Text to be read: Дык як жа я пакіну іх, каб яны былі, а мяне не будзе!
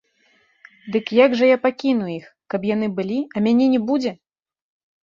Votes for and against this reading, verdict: 0, 2, rejected